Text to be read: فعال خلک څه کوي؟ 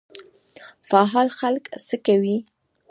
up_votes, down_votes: 1, 2